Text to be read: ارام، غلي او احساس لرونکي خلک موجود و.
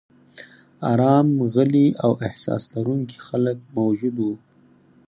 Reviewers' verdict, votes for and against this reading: rejected, 2, 4